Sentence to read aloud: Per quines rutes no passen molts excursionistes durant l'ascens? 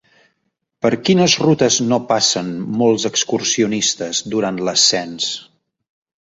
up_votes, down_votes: 3, 0